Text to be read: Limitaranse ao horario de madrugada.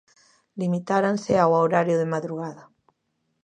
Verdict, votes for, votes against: rejected, 0, 2